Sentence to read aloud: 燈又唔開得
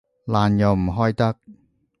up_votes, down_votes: 0, 2